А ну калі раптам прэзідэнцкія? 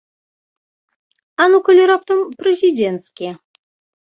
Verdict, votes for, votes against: rejected, 0, 2